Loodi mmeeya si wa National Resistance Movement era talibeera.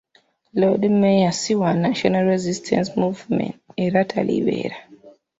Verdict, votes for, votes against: accepted, 2, 1